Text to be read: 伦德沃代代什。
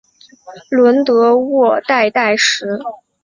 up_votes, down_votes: 4, 1